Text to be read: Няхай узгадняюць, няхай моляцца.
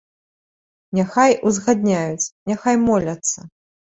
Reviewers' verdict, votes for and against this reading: accepted, 3, 0